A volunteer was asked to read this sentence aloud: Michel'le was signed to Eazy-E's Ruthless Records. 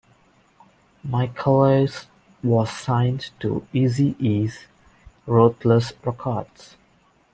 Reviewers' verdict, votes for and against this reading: rejected, 1, 2